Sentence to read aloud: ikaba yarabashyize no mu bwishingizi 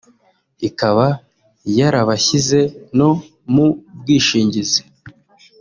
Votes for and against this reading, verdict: 2, 0, accepted